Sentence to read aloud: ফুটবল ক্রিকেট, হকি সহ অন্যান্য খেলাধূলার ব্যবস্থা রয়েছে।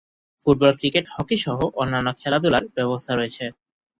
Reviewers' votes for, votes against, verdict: 2, 0, accepted